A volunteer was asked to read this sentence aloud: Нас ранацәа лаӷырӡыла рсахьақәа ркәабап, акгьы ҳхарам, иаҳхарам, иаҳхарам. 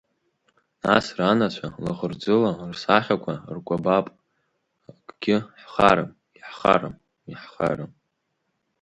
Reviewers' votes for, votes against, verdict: 1, 2, rejected